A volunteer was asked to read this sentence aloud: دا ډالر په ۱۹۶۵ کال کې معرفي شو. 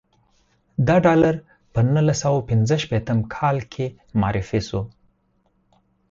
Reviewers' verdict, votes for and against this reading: rejected, 0, 2